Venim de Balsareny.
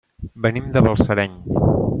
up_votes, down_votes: 2, 0